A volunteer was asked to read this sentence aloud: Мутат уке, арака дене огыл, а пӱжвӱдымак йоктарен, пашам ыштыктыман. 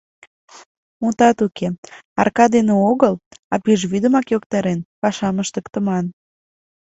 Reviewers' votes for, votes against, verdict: 2, 0, accepted